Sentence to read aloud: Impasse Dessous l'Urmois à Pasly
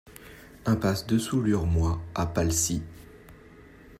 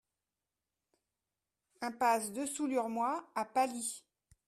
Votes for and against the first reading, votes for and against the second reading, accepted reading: 0, 2, 2, 0, second